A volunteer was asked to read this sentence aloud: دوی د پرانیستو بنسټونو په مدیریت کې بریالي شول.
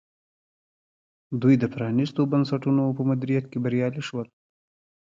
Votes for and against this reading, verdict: 2, 0, accepted